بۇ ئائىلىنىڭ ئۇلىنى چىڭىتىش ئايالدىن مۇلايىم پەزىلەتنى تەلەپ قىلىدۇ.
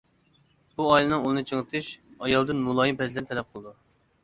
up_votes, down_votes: 0, 2